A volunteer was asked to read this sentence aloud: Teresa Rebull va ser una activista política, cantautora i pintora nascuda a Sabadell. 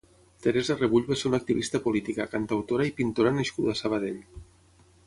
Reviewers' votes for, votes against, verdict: 6, 0, accepted